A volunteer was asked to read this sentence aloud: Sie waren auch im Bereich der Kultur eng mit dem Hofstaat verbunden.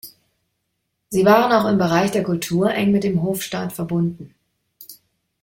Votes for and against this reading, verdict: 2, 0, accepted